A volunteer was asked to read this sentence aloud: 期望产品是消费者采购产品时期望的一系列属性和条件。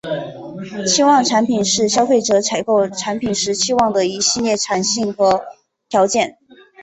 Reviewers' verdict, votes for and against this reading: rejected, 1, 4